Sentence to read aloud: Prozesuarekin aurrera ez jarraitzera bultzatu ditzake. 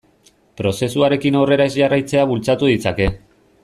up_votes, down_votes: 1, 2